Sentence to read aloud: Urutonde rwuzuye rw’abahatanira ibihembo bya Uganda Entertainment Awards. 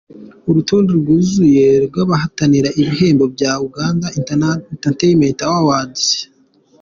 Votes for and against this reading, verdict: 1, 2, rejected